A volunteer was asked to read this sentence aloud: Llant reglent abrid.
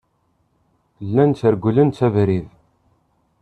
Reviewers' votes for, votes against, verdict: 0, 2, rejected